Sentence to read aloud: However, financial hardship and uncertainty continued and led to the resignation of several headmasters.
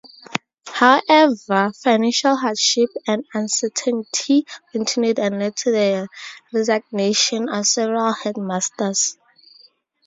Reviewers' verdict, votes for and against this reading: rejected, 0, 2